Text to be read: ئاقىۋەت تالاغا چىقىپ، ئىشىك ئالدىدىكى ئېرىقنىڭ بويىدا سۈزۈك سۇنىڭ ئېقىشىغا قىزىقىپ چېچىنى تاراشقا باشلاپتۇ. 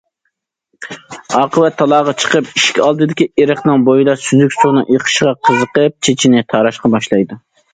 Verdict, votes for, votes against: rejected, 0, 2